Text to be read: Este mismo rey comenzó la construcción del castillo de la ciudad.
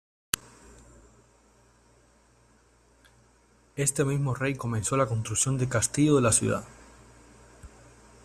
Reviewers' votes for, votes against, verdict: 1, 2, rejected